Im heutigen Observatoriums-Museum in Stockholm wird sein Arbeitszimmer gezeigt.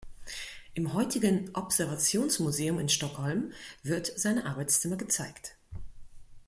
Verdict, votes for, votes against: rejected, 0, 2